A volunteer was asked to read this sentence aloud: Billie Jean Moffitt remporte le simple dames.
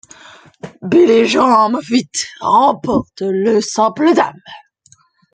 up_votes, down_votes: 0, 2